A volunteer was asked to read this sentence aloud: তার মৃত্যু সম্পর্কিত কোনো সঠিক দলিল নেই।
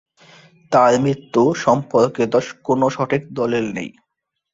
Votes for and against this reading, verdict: 2, 3, rejected